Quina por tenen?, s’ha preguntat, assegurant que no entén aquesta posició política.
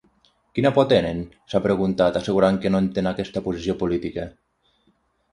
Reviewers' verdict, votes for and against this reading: accepted, 6, 0